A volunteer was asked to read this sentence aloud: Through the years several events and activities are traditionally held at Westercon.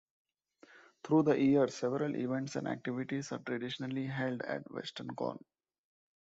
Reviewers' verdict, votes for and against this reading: rejected, 0, 2